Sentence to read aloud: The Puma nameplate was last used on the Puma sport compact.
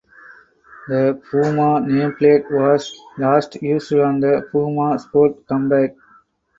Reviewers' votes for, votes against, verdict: 0, 4, rejected